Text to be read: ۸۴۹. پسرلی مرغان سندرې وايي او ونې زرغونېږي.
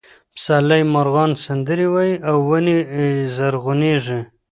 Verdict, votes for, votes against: rejected, 0, 2